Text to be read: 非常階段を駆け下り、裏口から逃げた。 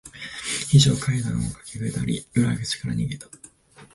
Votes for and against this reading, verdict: 1, 2, rejected